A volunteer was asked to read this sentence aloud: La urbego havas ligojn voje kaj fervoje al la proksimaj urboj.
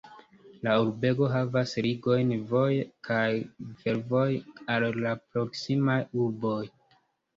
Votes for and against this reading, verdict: 1, 2, rejected